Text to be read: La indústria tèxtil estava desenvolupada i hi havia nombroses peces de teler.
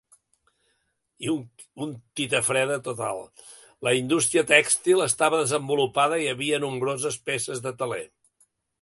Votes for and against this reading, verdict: 0, 2, rejected